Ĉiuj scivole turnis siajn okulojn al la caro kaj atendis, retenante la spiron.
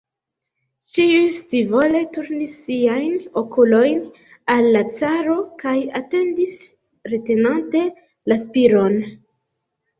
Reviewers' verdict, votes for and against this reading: rejected, 1, 2